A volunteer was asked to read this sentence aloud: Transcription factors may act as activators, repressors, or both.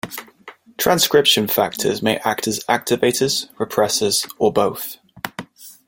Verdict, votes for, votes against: accepted, 2, 0